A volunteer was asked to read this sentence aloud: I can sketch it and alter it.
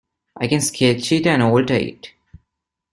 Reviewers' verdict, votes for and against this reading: accepted, 2, 0